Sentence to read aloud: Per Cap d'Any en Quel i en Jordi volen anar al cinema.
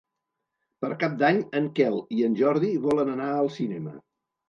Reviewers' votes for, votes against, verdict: 2, 0, accepted